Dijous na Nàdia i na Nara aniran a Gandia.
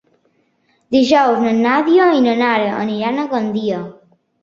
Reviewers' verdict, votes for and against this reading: accepted, 3, 0